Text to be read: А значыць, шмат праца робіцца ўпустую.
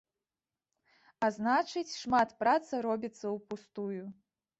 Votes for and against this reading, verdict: 0, 2, rejected